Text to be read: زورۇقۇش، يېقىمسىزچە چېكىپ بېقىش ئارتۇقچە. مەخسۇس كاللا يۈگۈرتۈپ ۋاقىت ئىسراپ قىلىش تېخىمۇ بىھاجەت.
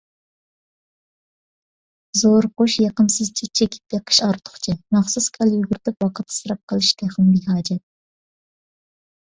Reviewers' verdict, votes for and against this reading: rejected, 1, 2